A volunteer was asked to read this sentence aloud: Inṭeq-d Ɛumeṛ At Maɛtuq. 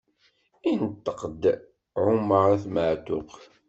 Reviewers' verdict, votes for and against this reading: accepted, 2, 0